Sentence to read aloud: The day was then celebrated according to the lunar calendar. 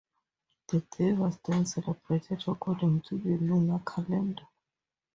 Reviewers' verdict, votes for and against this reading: rejected, 0, 2